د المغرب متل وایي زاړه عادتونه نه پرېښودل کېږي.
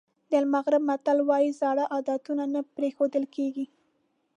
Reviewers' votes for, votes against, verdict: 2, 0, accepted